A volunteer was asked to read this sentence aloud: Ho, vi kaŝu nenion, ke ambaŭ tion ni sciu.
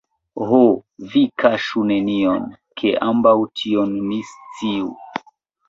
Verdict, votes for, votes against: rejected, 1, 2